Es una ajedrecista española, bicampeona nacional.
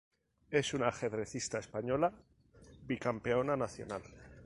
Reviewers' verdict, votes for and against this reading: accepted, 2, 0